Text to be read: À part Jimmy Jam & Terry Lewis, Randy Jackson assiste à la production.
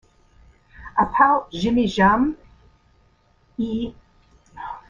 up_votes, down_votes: 0, 2